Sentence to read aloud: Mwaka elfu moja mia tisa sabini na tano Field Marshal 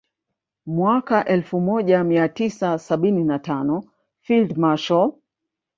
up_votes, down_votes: 2, 1